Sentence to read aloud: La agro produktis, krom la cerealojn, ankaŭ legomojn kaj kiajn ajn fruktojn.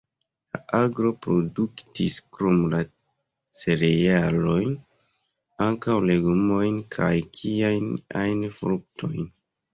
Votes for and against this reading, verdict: 1, 2, rejected